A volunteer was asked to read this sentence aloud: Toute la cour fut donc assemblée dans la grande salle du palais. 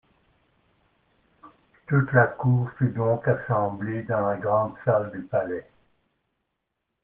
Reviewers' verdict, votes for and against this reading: rejected, 0, 2